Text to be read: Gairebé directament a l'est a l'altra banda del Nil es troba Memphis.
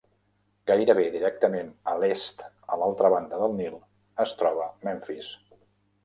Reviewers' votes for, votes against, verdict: 0, 2, rejected